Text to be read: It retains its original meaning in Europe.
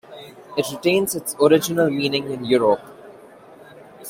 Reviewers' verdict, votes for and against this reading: accepted, 2, 1